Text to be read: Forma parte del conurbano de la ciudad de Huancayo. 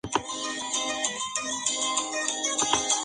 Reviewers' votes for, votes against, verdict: 2, 0, accepted